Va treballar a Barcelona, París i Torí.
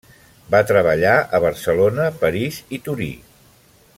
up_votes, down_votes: 3, 0